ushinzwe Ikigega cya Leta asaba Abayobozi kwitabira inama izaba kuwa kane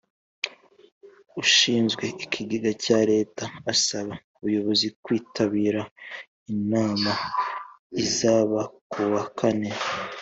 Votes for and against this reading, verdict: 2, 1, accepted